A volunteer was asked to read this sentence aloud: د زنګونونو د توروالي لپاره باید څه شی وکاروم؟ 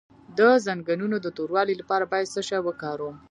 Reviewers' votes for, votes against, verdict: 0, 2, rejected